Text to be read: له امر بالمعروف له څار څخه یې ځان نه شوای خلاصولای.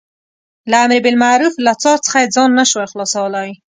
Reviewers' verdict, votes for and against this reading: accepted, 2, 0